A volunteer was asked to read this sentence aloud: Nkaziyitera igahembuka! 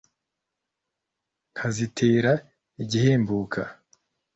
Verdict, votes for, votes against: rejected, 1, 2